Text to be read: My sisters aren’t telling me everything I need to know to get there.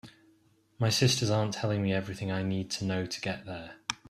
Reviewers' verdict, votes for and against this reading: accepted, 2, 0